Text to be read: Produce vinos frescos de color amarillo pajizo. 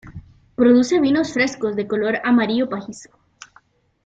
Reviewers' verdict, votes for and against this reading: accepted, 2, 0